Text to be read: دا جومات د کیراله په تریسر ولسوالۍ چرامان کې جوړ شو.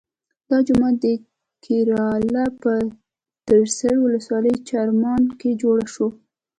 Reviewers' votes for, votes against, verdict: 2, 0, accepted